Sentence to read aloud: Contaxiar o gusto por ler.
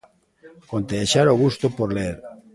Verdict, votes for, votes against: rejected, 0, 2